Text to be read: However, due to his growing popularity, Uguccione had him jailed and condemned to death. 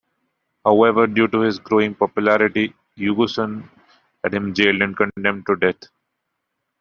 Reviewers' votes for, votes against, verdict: 0, 2, rejected